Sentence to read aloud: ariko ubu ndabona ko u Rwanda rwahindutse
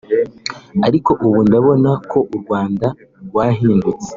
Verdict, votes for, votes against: rejected, 0, 2